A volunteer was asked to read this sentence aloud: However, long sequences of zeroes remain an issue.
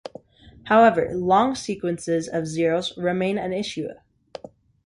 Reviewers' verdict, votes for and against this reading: accepted, 2, 0